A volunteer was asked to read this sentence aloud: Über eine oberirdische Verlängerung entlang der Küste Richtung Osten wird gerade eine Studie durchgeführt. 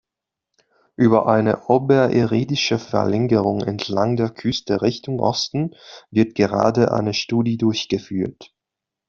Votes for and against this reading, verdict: 0, 2, rejected